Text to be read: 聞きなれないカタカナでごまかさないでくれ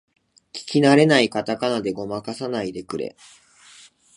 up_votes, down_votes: 2, 0